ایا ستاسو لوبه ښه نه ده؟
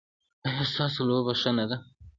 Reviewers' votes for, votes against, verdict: 1, 2, rejected